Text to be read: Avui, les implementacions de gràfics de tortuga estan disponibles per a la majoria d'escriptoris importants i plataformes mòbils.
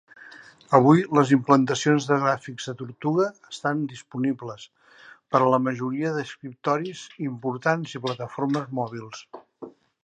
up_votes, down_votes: 2, 0